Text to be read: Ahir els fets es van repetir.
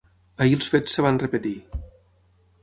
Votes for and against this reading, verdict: 6, 9, rejected